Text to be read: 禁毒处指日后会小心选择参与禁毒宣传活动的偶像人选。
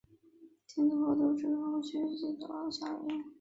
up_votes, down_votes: 0, 2